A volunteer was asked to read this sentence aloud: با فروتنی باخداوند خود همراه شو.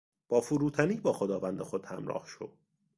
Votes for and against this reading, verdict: 2, 0, accepted